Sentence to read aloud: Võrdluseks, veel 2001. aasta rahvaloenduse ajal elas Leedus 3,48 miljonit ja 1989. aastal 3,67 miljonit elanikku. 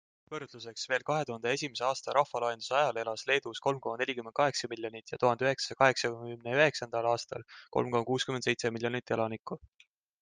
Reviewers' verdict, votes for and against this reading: rejected, 0, 2